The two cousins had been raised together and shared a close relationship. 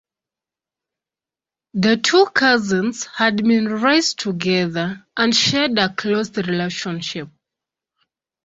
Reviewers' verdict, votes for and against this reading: accepted, 2, 0